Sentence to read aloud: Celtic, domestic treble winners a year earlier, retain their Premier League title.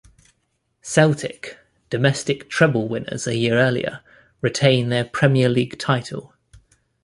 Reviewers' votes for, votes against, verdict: 2, 0, accepted